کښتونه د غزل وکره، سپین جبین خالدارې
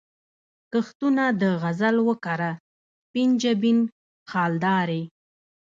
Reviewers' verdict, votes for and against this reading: rejected, 1, 2